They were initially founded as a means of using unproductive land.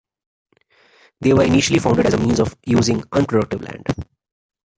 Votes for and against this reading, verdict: 3, 2, accepted